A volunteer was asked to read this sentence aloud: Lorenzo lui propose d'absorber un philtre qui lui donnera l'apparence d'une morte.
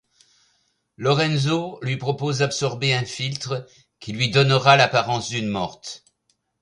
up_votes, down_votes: 2, 0